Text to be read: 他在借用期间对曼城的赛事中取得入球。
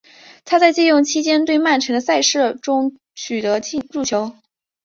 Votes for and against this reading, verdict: 0, 2, rejected